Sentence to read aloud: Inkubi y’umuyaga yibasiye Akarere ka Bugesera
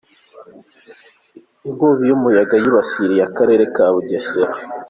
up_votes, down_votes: 3, 0